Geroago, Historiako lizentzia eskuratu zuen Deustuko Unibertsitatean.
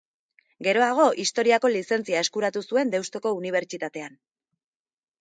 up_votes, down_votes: 2, 1